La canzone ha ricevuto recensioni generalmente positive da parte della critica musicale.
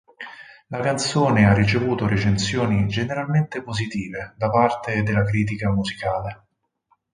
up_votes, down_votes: 4, 2